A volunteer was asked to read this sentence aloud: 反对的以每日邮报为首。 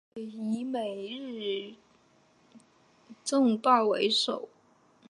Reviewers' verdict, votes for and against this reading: rejected, 1, 2